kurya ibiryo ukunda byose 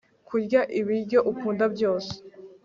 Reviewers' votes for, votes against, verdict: 3, 0, accepted